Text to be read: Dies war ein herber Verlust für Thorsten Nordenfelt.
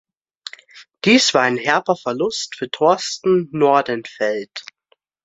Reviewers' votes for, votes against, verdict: 2, 0, accepted